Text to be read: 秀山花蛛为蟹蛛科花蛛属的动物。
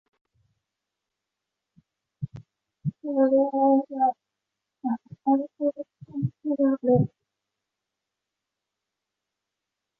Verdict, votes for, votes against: rejected, 0, 3